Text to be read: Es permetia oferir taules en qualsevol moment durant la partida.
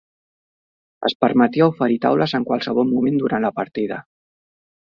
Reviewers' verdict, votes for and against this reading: accepted, 4, 0